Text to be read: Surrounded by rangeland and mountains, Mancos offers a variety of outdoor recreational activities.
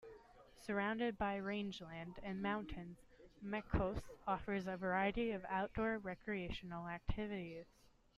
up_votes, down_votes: 2, 1